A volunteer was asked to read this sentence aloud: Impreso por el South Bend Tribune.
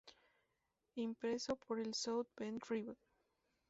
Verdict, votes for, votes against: rejected, 2, 2